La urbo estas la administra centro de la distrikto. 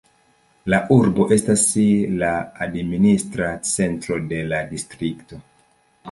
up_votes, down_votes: 1, 2